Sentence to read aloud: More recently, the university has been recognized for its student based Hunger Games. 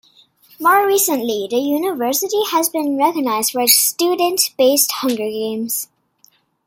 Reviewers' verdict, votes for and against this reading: rejected, 0, 2